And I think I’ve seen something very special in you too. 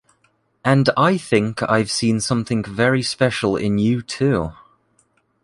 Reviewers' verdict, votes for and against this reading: accepted, 3, 0